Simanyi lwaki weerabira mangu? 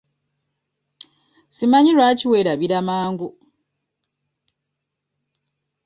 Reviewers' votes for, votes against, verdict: 2, 0, accepted